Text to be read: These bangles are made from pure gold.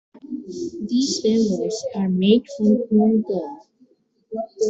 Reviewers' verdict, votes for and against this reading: rejected, 1, 2